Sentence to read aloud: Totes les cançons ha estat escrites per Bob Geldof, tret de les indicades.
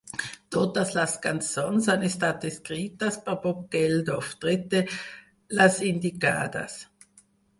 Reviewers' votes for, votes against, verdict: 0, 4, rejected